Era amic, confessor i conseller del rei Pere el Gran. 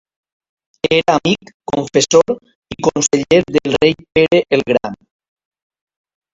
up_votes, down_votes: 0, 2